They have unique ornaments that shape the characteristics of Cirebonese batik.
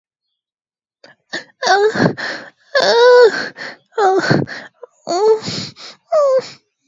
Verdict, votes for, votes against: rejected, 0, 2